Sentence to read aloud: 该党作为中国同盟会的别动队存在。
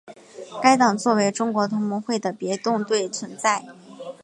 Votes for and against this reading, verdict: 2, 0, accepted